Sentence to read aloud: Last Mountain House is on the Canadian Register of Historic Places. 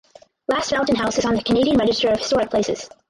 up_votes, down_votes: 0, 6